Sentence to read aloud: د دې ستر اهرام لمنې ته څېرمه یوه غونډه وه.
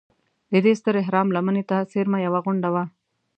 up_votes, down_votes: 2, 0